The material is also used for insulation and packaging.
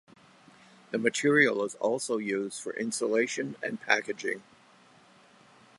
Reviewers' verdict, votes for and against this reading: accepted, 2, 0